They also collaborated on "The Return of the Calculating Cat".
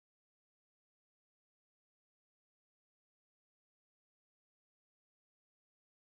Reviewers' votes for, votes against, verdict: 0, 2, rejected